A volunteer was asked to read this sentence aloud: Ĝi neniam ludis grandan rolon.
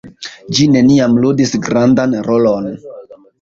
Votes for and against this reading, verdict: 2, 0, accepted